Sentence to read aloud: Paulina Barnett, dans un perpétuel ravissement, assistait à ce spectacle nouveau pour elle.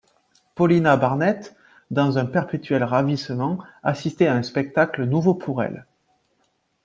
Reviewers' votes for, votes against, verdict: 1, 2, rejected